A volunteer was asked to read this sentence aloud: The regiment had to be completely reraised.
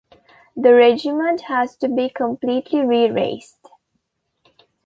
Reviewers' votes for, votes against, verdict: 1, 2, rejected